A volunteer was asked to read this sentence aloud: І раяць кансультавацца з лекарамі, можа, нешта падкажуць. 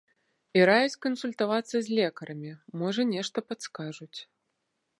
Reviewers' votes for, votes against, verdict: 0, 2, rejected